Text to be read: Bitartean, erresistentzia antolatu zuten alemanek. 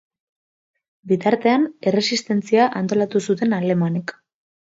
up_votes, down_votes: 2, 0